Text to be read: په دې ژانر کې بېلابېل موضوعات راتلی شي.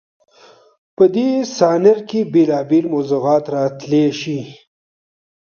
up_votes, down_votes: 1, 2